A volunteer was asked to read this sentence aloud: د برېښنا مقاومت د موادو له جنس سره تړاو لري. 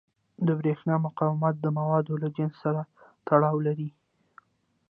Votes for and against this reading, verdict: 2, 0, accepted